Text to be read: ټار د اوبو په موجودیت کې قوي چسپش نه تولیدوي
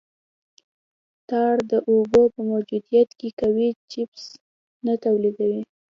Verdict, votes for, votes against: accepted, 2, 1